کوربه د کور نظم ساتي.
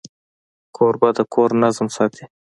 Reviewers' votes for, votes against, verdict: 2, 0, accepted